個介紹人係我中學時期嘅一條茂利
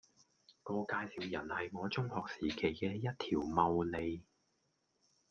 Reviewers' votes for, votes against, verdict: 1, 2, rejected